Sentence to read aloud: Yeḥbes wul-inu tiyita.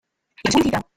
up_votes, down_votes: 1, 2